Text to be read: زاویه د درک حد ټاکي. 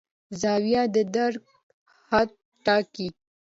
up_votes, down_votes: 2, 1